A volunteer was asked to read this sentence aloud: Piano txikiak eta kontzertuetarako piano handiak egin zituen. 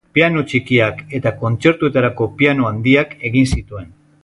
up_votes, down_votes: 2, 0